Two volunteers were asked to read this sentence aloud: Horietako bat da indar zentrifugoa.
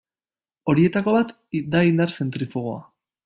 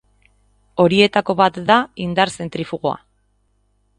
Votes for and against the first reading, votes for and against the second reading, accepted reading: 0, 2, 2, 0, second